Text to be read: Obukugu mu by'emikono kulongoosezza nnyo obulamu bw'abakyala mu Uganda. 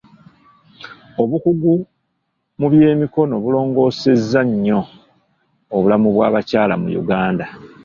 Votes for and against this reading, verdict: 0, 2, rejected